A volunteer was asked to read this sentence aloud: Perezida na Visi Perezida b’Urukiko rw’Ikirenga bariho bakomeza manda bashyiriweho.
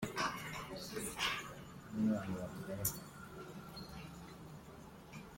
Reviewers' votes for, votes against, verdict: 0, 2, rejected